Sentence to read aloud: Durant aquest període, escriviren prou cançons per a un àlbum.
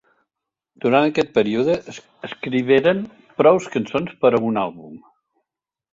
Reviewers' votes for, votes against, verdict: 0, 2, rejected